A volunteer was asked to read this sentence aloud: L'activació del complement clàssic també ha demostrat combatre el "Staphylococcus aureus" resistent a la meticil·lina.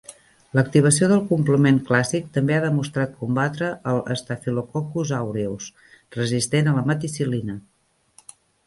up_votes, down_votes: 2, 0